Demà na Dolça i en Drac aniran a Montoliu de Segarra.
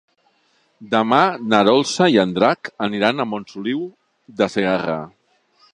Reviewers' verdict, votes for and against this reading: rejected, 1, 2